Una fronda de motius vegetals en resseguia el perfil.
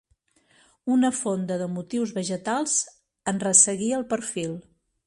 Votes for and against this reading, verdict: 1, 2, rejected